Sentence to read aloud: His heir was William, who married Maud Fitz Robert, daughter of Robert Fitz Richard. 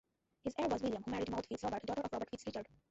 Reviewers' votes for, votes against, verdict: 0, 2, rejected